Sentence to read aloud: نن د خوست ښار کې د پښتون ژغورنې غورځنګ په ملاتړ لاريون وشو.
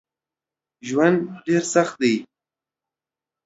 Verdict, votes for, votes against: rejected, 0, 2